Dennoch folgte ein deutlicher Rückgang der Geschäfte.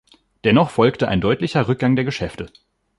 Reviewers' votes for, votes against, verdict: 2, 0, accepted